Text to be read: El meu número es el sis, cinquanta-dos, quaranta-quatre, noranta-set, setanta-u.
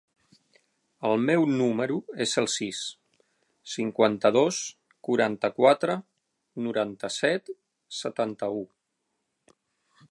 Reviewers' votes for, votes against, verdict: 2, 0, accepted